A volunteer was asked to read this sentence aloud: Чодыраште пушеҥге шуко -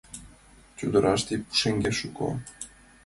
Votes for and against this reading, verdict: 2, 0, accepted